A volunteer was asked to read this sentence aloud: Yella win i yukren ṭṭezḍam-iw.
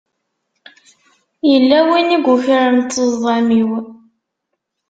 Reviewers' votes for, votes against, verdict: 2, 0, accepted